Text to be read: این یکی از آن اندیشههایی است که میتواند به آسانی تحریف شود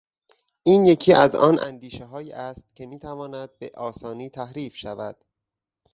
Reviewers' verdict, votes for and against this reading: rejected, 2, 2